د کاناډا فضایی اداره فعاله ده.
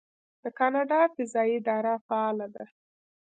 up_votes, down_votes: 1, 2